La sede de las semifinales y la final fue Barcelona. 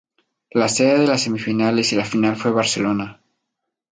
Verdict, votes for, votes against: accepted, 2, 0